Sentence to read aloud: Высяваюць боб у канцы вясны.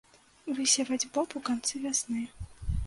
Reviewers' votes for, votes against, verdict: 0, 2, rejected